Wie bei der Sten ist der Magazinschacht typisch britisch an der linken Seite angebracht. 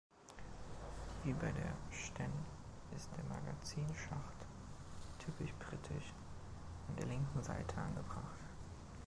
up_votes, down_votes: 2, 1